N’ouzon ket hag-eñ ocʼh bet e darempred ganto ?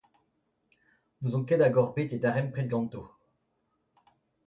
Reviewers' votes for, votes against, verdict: 2, 0, accepted